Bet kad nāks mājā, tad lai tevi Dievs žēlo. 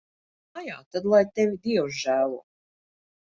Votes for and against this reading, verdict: 0, 2, rejected